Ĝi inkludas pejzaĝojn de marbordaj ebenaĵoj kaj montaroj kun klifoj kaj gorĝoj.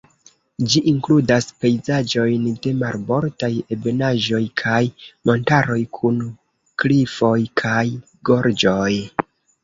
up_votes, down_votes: 0, 2